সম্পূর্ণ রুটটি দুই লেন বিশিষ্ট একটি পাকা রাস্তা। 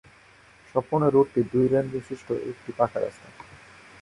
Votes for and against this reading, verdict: 6, 4, accepted